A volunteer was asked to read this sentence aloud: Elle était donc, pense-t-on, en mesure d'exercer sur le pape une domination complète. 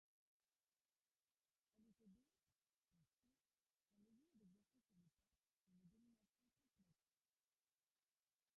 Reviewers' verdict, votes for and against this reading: rejected, 0, 2